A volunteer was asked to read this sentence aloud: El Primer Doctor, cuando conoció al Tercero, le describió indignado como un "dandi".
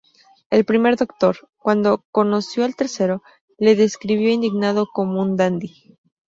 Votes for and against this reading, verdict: 0, 2, rejected